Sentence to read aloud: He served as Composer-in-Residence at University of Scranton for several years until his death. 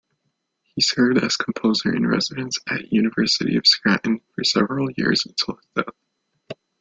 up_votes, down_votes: 0, 2